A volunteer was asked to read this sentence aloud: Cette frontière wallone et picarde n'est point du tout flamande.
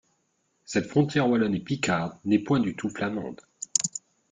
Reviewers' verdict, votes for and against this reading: accepted, 2, 0